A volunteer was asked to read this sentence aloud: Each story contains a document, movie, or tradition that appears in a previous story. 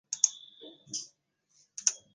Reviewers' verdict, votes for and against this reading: rejected, 0, 2